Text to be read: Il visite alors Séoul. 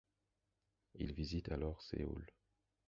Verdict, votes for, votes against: rejected, 0, 4